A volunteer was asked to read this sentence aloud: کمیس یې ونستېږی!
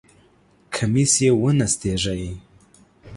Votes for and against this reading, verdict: 2, 0, accepted